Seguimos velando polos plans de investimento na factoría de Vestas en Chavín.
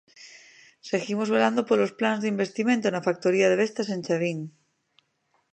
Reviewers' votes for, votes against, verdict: 2, 0, accepted